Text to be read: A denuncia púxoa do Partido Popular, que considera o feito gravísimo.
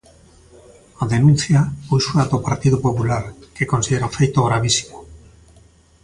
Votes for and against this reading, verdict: 2, 0, accepted